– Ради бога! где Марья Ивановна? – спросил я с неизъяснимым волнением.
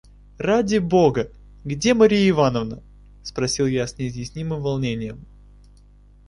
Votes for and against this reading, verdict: 0, 2, rejected